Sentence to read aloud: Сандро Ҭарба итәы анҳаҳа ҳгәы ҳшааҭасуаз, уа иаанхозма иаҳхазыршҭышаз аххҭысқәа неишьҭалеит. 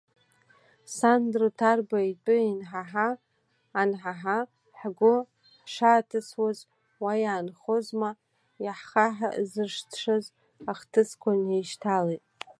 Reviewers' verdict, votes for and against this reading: rejected, 1, 2